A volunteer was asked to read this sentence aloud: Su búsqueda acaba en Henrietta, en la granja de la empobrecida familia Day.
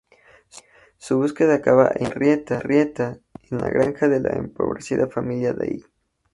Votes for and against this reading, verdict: 0, 4, rejected